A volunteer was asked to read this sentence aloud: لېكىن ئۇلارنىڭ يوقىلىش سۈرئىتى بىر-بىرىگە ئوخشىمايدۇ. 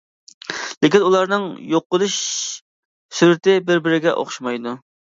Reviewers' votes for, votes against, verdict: 2, 0, accepted